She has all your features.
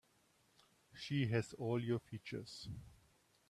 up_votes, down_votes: 2, 0